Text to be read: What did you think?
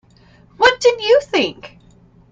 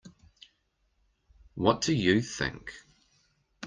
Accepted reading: first